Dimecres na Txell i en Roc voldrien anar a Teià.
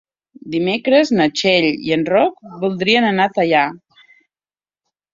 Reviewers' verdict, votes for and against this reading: accepted, 2, 0